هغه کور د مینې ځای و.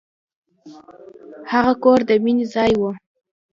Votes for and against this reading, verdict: 2, 0, accepted